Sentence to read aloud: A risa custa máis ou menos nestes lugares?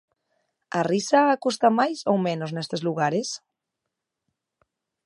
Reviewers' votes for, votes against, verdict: 2, 0, accepted